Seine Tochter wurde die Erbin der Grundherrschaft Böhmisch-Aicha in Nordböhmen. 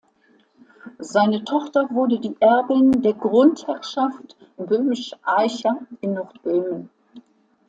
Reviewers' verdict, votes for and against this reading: accepted, 2, 1